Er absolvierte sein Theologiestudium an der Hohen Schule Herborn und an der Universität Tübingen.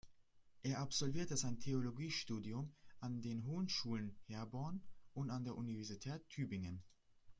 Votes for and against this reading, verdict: 1, 2, rejected